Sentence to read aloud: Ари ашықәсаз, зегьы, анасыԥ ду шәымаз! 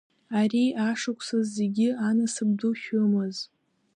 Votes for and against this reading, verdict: 0, 2, rejected